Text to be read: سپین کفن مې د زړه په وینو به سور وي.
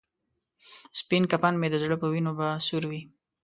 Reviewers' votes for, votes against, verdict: 2, 0, accepted